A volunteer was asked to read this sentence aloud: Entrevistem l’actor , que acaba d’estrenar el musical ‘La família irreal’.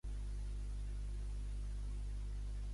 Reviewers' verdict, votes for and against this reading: rejected, 0, 2